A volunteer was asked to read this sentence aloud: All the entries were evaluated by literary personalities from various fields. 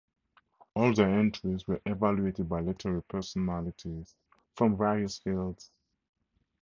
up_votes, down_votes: 2, 2